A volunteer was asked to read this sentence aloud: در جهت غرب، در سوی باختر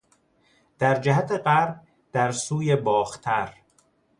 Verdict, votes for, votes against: accepted, 2, 0